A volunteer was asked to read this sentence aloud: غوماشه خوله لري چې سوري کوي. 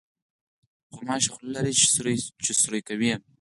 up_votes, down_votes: 4, 0